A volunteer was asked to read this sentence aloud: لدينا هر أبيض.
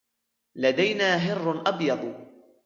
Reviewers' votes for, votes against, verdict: 1, 2, rejected